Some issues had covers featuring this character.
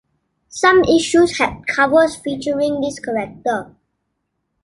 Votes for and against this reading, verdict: 2, 0, accepted